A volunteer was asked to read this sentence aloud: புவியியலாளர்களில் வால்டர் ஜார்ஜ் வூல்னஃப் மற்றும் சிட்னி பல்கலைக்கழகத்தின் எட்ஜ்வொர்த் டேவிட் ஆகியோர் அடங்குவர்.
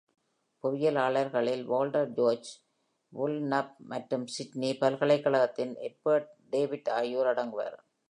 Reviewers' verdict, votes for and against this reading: accepted, 2, 0